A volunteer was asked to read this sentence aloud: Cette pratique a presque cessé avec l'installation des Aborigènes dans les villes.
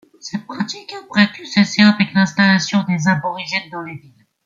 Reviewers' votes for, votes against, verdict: 0, 2, rejected